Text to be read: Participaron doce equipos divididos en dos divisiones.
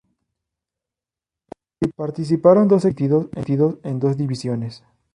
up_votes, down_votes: 0, 2